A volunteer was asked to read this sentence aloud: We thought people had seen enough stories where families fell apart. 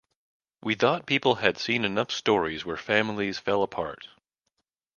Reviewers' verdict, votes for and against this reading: accepted, 2, 0